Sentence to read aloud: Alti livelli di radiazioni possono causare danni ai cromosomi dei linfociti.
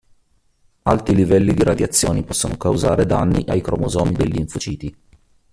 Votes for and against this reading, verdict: 1, 2, rejected